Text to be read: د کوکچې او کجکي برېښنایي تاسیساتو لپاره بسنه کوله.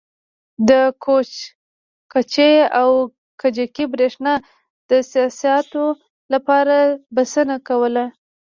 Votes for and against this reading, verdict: 1, 2, rejected